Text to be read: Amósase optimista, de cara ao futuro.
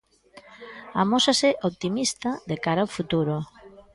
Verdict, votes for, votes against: accepted, 2, 0